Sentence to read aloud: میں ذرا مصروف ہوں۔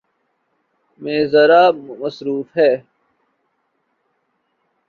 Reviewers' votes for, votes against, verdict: 1, 2, rejected